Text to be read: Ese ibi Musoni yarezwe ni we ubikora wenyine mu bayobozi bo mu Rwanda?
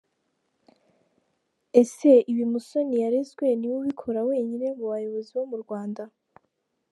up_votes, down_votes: 2, 0